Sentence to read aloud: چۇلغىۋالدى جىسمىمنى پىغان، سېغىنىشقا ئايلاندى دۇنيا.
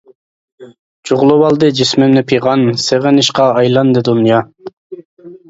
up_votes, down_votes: 1, 2